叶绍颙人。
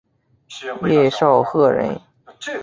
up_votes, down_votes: 4, 0